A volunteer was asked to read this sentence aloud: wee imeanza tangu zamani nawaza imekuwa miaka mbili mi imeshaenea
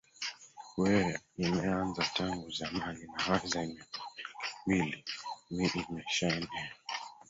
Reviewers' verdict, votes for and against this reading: rejected, 0, 2